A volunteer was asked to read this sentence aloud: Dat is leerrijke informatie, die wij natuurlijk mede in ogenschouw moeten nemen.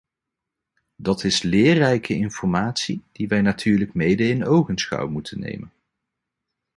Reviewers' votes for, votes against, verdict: 2, 0, accepted